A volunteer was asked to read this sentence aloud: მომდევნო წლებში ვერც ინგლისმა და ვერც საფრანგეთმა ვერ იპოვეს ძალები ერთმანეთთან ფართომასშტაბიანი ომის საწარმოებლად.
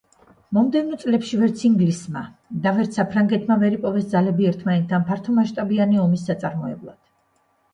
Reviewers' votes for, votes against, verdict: 2, 0, accepted